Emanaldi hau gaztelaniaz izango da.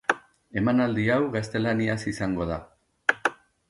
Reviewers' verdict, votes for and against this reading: accepted, 2, 0